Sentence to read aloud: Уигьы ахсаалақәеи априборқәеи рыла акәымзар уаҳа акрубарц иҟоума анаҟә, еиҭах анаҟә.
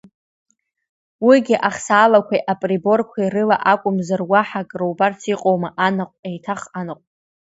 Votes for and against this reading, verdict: 2, 0, accepted